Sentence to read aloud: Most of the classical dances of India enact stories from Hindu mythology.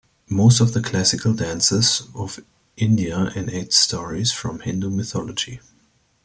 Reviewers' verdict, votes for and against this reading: accepted, 2, 0